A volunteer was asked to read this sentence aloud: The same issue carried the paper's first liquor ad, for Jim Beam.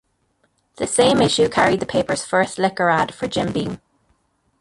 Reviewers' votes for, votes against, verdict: 0, 2, rejected